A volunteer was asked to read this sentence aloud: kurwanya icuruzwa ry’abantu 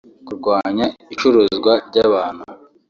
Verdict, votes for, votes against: rejected, 1, 2